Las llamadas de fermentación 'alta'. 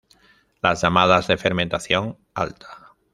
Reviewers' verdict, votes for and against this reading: rejected, 1, 2